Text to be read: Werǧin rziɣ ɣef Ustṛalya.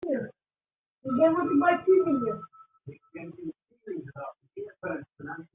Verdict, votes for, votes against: rejected, 0, 2